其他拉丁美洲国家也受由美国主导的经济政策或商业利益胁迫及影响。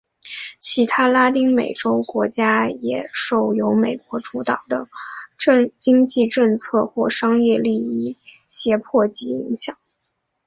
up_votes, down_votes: 1, 3